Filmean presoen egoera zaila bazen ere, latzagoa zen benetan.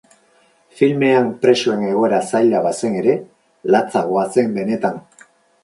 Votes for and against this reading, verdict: 2, 2, rejected